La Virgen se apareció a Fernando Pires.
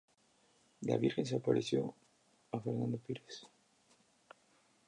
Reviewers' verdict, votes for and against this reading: accepted, 2, 0